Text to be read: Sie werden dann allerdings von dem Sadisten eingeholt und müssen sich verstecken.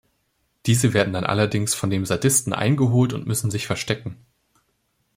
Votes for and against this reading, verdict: 0, 2, rejected